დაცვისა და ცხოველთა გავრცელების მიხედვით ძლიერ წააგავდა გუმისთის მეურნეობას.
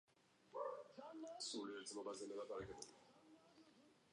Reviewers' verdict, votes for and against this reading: rejected, 0, 2